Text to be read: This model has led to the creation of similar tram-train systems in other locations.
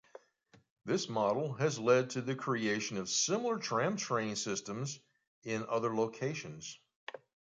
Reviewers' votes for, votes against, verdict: 2, 0, accepted